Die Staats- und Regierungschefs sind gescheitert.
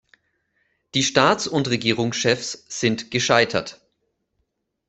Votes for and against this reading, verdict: 2, 0, accepted